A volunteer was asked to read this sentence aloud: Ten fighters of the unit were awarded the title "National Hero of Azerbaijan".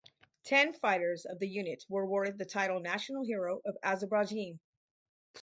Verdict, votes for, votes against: rejected, 2, 2